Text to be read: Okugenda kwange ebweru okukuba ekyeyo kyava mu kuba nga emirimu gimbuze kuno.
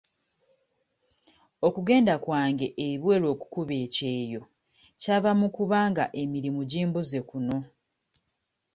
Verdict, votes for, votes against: accepted, 2, 0